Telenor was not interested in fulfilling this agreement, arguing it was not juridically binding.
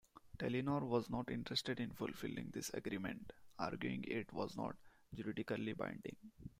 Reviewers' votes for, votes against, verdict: 2, 0, accepted